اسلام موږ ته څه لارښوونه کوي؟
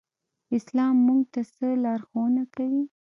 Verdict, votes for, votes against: accepted, 2, 0